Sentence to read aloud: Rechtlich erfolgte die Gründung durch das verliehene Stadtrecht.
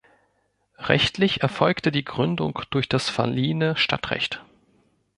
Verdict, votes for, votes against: accepted, 2, 0